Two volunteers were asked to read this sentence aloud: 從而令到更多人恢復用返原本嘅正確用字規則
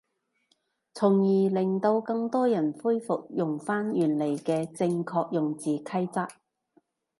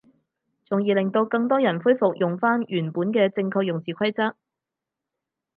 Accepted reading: second